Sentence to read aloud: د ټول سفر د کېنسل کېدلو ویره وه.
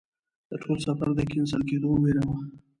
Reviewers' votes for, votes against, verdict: 2, 0, accepted